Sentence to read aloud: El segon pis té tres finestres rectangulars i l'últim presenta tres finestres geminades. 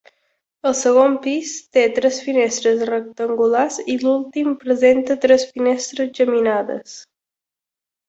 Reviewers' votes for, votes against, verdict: 2, 0, accepted